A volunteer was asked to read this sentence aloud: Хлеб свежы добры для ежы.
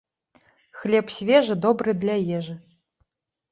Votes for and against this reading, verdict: 2, 0, accepted